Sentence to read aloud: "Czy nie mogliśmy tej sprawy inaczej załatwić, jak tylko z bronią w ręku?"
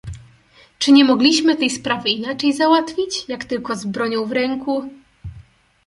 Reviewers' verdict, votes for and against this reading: accepted, 2, 0